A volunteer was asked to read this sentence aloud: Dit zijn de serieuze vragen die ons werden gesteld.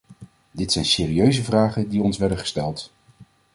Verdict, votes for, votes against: rejected, 0, 2